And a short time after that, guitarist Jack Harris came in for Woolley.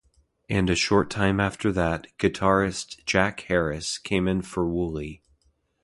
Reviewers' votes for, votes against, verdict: 2, 0, accepted